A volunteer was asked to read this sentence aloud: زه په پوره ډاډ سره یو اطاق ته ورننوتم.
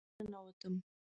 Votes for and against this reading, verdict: 0, 3, rejected